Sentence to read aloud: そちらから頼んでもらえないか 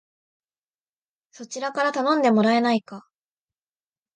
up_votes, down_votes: 3, 0